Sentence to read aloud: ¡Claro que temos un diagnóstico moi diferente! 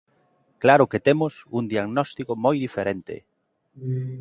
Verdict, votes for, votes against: accepted, 2, 0